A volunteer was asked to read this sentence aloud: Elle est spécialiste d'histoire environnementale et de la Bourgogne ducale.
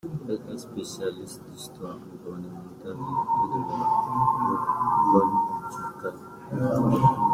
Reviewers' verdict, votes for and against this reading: rejected, 0, 2